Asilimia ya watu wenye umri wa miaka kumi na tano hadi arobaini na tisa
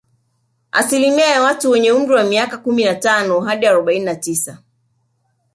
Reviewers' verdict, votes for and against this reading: accepted, 2, 0